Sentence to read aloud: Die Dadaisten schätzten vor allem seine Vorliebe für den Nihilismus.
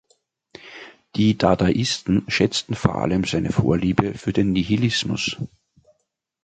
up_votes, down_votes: 2, 0